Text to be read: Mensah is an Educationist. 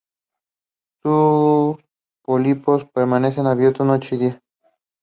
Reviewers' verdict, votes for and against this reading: rejected, 0, 2